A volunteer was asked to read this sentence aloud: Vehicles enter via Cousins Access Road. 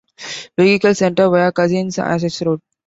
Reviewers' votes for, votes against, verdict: 0, 2, rejected